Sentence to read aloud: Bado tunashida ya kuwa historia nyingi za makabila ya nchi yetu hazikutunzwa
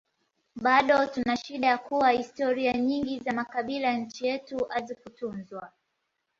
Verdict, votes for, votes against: accepted, 2, 0